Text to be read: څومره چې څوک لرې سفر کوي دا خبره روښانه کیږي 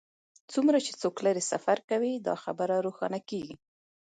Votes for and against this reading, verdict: 1, 2, rejected